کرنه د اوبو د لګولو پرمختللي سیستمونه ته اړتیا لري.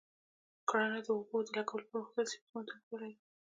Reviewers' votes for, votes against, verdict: 0, 2, rejected